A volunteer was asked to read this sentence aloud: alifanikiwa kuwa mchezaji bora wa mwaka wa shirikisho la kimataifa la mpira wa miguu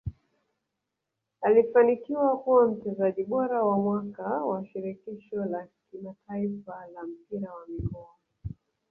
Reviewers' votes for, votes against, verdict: 0, 2, rejected